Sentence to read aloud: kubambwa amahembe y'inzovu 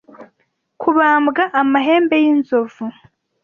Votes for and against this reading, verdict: 2, 0, accepted